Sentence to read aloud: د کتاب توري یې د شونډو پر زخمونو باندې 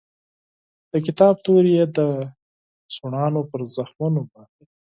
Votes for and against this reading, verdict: 2, 4, rejected